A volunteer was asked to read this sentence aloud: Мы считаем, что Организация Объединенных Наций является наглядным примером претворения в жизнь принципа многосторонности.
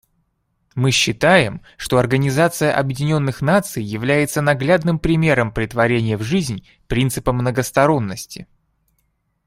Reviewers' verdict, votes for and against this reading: accepted, 2, 0